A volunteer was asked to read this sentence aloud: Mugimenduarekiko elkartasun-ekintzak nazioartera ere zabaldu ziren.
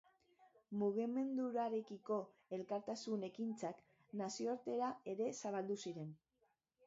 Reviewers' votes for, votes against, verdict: 0, 2, rejected